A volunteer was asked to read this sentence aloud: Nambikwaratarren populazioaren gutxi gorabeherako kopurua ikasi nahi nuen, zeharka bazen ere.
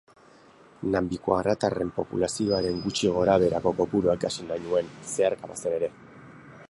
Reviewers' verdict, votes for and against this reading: accepted, 6, 0